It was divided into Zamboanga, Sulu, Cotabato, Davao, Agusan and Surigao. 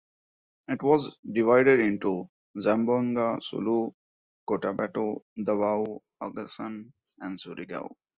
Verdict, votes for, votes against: accepted, 2, 1